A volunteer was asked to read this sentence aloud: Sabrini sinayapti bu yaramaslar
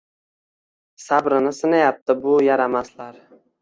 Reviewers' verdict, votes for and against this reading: rejected, 1, 2